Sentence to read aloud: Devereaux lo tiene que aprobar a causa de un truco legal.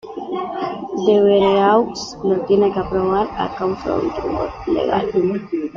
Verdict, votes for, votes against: rejected, 1, 2